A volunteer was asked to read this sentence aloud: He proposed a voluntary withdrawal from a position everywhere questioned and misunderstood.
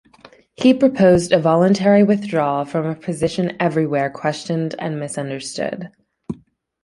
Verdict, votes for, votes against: accepted, 2, 0